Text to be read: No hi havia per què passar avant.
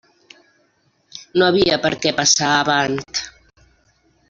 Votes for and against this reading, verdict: 0, 2, rejected